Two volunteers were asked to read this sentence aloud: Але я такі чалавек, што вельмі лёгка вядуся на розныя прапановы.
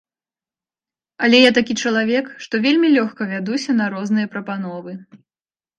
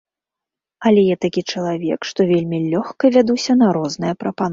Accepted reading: first